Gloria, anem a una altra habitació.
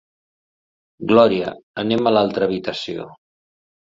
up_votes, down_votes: 0, 2